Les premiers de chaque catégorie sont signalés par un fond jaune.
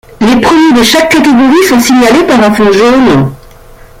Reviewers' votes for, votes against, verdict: 2, 0, accepted